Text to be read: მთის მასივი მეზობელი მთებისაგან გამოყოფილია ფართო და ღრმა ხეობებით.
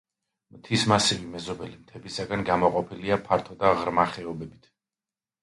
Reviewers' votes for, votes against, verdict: 2, 0, accepted